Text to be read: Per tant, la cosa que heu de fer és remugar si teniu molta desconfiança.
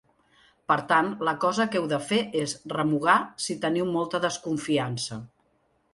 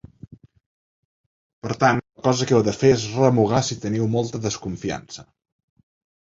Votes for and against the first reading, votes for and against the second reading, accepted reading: 2, 0, 0, 2, first